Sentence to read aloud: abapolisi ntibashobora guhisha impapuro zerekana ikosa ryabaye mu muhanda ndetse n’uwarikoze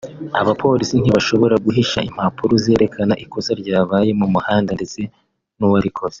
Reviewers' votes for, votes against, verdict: 3, 0, accepted